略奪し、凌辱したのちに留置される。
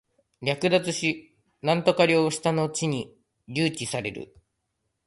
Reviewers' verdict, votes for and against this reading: rejected, 0, 2